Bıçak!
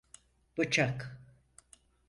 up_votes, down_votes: 4, 0